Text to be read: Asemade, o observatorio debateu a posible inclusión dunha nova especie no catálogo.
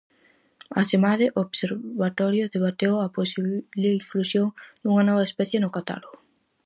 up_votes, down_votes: 0, 4